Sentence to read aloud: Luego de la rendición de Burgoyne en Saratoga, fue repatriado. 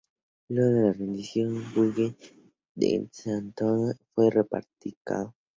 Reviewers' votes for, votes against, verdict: 0, 2, rejected